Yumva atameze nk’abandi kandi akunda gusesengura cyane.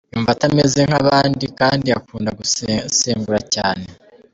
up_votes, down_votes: 0, 2